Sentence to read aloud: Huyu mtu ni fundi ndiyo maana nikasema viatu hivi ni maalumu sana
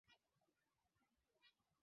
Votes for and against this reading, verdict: 0, 2, rejected